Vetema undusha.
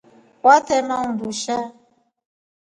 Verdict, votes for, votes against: rejected, 0, 2